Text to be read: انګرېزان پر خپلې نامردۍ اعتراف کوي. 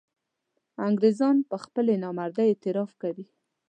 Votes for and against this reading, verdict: 2, 0, accepted